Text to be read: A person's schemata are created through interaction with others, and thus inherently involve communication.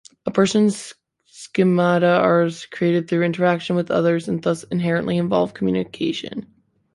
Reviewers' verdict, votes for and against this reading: rejected, 1, 2